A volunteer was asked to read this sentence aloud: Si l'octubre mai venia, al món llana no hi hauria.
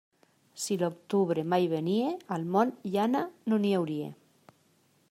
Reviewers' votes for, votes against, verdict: 0, 2, rejected